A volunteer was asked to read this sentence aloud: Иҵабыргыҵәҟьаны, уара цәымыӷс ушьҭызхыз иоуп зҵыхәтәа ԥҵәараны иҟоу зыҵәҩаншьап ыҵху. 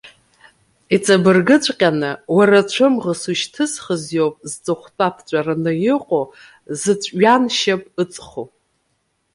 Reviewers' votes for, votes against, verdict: 0, 2, rejected